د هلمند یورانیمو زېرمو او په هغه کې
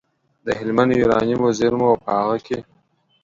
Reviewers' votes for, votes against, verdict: 2, 0, accepted